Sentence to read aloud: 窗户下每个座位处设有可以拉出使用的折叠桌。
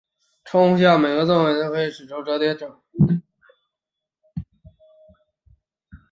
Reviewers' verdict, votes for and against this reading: rejected, 1, 3